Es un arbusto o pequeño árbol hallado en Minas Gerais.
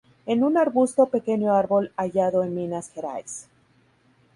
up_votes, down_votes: 0, 2